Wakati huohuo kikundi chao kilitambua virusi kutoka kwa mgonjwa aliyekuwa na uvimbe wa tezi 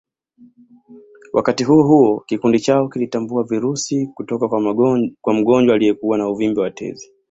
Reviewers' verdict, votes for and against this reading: rejected, 0, 2